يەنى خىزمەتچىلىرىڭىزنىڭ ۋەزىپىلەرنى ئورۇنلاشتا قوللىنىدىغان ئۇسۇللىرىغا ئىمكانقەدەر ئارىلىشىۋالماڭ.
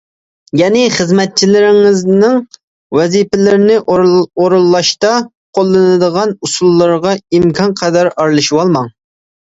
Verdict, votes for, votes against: rejected, 0, 2